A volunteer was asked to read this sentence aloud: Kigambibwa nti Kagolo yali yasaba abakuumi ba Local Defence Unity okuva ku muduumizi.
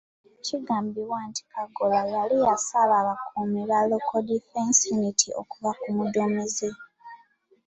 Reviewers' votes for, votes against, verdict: 2, 1, accepted